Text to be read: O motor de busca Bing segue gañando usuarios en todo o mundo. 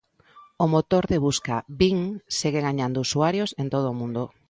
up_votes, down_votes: 2, 0